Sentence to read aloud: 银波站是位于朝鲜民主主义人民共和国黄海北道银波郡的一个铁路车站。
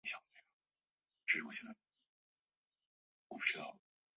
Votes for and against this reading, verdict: 0, 2, rejected